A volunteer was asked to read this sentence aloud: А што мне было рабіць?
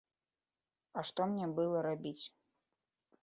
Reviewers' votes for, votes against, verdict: 0, 3, rejected